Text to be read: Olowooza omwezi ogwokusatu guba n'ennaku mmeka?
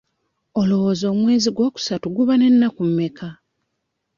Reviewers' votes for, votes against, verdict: 0, 2, rejected